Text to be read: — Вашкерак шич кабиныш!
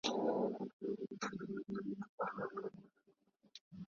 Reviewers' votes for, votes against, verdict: 0, 2, rejected